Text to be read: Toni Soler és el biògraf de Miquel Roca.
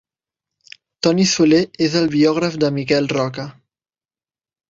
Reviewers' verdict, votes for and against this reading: accepted, 4, 0